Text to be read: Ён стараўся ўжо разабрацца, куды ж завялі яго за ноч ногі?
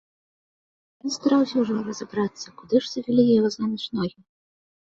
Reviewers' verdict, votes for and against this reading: rejected, 1, 2